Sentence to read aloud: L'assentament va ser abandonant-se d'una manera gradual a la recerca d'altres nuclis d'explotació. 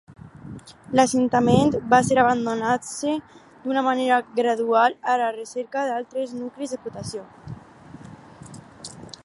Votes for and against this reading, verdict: 4, 0, accepted